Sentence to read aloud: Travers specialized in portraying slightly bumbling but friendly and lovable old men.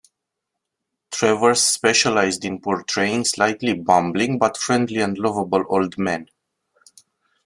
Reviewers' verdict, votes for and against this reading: accepted, 2, 0